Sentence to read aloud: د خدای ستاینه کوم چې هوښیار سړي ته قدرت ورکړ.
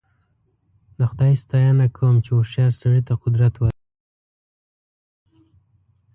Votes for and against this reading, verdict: 1, 2, rejected